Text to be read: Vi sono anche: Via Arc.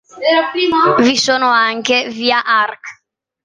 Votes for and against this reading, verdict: 2, 1, accepted